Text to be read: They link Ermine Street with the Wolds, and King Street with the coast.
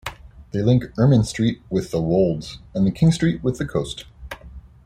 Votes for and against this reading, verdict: 2, 1, accepted